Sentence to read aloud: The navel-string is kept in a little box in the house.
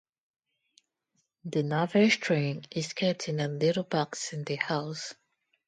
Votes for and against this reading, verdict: 0, 2, rejected